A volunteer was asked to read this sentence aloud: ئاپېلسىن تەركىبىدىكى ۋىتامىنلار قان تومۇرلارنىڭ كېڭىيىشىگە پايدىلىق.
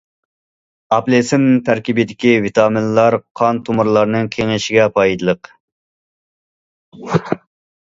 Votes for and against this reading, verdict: 2, 0, accepted